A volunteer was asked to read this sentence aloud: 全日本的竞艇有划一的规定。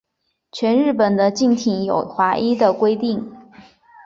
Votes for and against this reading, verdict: 6, 0, accepted